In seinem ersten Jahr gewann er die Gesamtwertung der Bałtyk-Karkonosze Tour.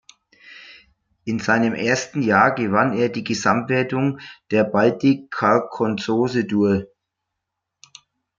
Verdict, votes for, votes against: rejected, 0, 2